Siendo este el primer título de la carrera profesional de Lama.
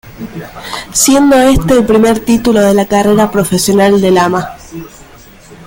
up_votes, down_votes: 2, 0